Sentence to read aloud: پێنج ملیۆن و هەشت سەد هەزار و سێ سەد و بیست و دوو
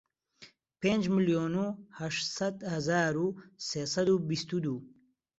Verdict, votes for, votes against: accepted, 2, 0